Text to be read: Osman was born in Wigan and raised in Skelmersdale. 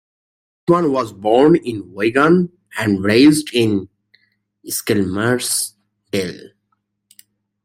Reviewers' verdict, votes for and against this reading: rejected, 0, 2